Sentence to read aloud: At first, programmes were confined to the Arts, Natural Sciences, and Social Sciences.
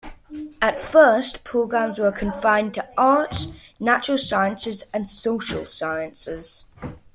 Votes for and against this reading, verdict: 2, 0, accepted